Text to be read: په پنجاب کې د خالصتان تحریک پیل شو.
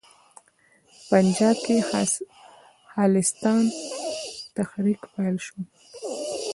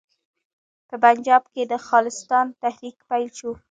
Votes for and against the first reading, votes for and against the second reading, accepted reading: 1, 2, 2, 0, second